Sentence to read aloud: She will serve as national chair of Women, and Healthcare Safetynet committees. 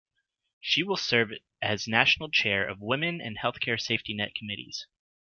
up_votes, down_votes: 2, 0